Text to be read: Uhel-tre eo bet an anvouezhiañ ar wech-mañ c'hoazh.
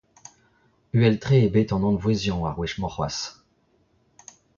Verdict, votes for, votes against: accepted, 2, 1